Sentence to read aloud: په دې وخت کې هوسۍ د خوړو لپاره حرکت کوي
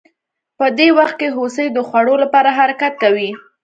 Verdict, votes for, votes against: accepted, 2, 0